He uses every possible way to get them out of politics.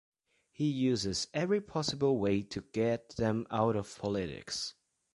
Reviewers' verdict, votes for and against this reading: accepted, 2, 0